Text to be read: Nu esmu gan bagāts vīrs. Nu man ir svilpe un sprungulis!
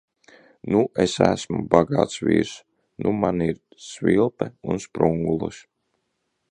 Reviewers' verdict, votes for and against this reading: rejected, 1, 2